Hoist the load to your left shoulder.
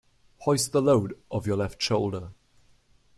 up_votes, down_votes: 0, 2